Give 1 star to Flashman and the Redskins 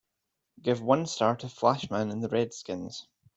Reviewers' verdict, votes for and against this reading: rejected, 0, 2